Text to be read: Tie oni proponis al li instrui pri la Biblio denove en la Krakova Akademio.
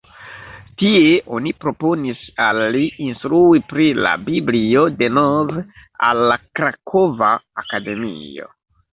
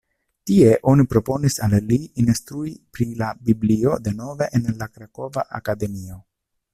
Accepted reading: second